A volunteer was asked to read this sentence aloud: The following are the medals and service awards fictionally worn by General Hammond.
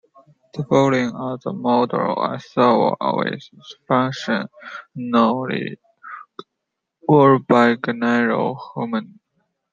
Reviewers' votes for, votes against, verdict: 0, 2, rejected